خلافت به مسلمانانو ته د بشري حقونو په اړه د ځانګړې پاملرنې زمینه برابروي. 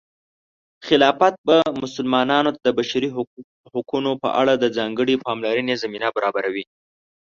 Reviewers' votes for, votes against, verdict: 1, 2, rejected